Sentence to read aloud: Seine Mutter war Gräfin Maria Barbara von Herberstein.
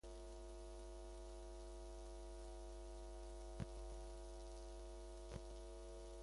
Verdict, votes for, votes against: rejected, 0, 2